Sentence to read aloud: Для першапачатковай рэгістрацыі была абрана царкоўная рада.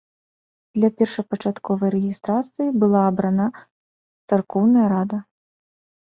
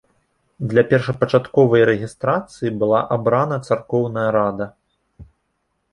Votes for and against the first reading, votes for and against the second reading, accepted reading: 0, 2, 2, 0, second